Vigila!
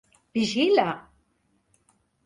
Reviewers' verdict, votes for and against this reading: accepted, 2, 0